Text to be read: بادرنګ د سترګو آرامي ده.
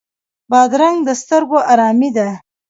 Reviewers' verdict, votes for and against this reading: rejected, 0, 2